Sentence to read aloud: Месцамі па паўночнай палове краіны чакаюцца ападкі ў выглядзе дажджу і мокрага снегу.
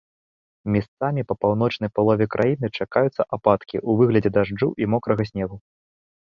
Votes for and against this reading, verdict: 1, 2, rejected